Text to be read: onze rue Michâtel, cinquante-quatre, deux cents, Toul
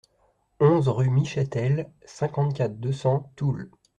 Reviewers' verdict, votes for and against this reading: accepted, 2, 0